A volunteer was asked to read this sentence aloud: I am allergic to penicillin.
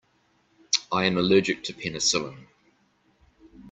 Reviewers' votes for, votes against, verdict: 2, 0, accepted